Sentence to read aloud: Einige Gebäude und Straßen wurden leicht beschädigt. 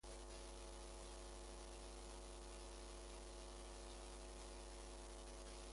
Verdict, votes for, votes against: rejected, 0, 2